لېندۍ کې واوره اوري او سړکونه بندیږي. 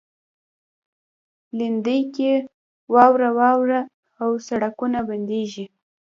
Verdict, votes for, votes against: rejected, 1, 2